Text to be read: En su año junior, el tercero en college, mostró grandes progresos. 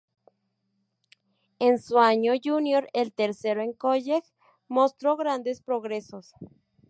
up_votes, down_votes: 0, 2